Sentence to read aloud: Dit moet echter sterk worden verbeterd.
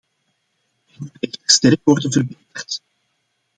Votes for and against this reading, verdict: 0, 2, rejected